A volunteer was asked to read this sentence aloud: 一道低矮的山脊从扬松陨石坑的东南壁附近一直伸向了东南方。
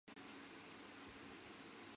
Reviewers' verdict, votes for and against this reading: rejected, 0, 2